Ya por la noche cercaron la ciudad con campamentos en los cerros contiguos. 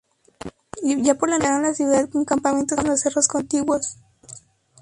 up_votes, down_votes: 0, 2